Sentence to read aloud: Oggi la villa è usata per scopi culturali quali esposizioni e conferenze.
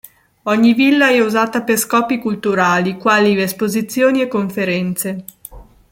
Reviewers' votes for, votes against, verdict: 1, 2, rejected